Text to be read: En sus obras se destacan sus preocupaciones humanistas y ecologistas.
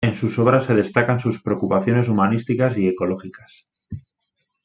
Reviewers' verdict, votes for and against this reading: rejected, 1, 2